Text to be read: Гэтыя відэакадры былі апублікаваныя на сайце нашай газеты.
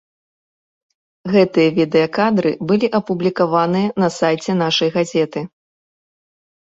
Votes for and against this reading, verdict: 2, 0, accepted